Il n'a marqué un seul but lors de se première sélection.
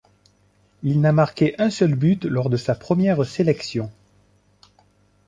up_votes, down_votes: 1, 2